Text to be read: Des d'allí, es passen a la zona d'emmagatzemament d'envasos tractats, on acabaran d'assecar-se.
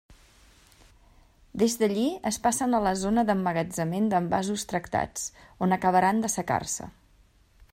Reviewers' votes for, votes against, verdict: 0, 2, rejected